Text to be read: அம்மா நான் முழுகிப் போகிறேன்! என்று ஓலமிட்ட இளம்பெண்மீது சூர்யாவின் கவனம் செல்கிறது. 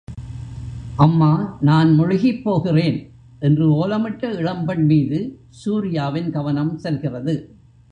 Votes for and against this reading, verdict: 2, 0, accepted